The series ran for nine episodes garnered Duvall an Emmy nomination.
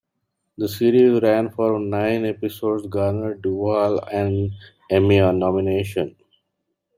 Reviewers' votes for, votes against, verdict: 2, 0, accepted